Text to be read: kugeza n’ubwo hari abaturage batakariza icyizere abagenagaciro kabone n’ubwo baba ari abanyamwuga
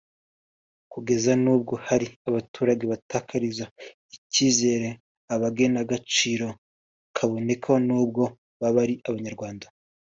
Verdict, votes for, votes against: rejected, 0, 2